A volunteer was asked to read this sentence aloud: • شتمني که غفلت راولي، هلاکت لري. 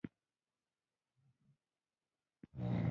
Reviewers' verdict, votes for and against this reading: rejected, 1, 2